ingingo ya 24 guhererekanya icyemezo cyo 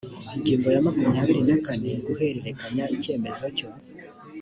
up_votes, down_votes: 0, 2